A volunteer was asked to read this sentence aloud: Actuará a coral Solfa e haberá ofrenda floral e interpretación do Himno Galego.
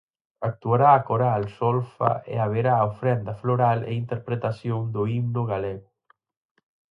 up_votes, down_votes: 4, 0